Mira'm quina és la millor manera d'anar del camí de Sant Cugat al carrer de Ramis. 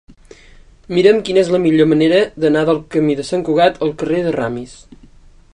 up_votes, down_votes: 2, 0